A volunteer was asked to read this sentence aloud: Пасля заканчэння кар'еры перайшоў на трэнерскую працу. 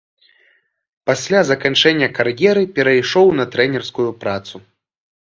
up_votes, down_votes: 2, 0